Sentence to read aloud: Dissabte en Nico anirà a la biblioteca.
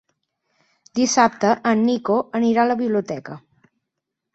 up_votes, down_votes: 8, 0